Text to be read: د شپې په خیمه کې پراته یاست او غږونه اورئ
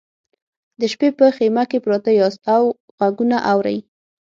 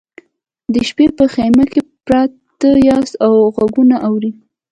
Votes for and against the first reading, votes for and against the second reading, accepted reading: 6, 0, 1, 2, first